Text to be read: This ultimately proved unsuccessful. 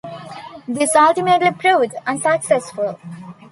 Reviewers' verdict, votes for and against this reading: accepted, 2, 0